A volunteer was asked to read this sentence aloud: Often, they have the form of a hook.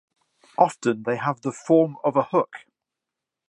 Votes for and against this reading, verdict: 2, 0, accepted